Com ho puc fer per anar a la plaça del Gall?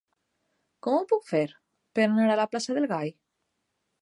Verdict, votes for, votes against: accepted, 2, 0